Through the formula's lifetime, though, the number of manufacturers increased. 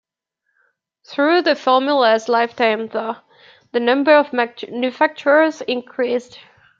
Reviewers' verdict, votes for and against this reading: rejected, 1, 2